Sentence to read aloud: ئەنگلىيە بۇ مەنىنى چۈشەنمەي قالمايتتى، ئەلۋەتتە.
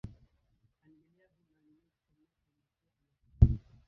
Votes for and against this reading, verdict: 0, 2, rejected